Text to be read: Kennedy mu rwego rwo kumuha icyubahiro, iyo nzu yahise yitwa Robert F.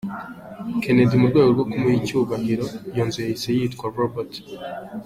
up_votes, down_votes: 2, 3